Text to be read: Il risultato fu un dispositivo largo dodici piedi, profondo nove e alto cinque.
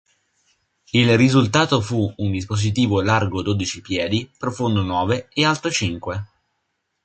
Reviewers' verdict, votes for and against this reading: accepted, 3, 0